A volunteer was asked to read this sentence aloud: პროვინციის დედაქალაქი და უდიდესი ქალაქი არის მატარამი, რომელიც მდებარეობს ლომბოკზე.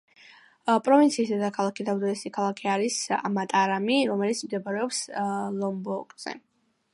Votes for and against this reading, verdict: 2, 0, accepted